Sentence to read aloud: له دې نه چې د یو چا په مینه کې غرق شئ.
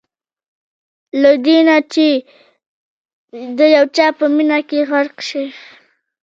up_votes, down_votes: 1, 2